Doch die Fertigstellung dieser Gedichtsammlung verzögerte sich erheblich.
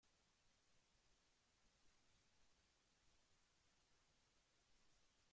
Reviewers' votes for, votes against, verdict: 0, 2, rejected